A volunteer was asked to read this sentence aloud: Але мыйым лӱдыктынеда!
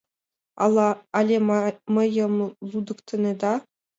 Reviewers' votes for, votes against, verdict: 0, 2, rejected